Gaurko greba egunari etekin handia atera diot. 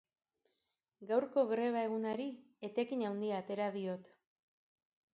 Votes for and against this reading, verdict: 1, 2, rejected